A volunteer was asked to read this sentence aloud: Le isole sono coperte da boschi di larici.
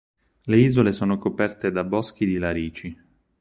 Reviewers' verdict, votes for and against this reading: rejected, 2, 4